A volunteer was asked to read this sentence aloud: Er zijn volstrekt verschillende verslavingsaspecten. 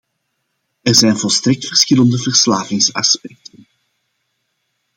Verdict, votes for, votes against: rejected, 1, 2